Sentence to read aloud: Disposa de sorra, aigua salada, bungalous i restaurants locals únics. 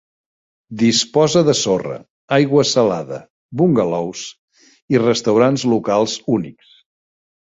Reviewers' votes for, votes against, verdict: 1, 2, rejected